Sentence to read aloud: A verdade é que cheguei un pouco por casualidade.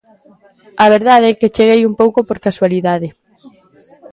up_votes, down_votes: 1, 2